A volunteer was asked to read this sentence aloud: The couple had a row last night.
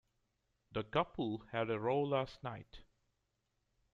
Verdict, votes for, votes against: rejected, 0, 2